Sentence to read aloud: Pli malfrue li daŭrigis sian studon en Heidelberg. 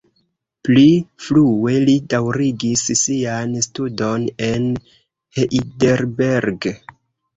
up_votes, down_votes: 0, 2